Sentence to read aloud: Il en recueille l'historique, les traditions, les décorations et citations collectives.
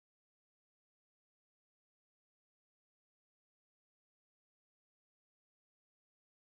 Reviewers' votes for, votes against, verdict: 0, 2, rejected